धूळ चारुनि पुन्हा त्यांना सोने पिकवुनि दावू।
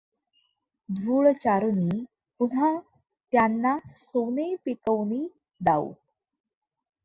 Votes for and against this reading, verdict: 2, 0, accepted